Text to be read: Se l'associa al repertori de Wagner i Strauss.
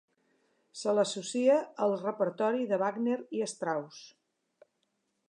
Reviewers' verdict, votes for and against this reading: accepted, 5, 0